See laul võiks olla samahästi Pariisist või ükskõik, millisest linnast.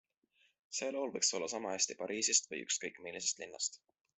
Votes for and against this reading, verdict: 2, 0, accepted